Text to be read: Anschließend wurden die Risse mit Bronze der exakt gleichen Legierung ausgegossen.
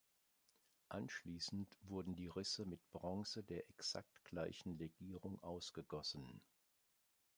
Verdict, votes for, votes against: accepted, 3, 1